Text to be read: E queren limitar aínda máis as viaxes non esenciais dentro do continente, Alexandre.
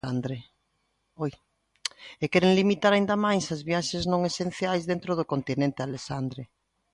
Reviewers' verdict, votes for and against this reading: rejected, 0, 2